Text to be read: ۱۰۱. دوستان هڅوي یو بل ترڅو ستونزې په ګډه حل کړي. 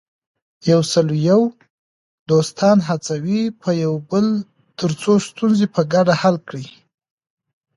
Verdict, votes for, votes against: rejected, 0, 2